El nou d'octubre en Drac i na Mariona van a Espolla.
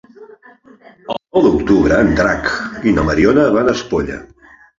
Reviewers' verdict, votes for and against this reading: rejected, 1, 3